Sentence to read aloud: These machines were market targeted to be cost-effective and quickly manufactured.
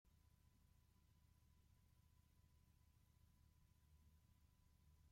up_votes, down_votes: 0, 2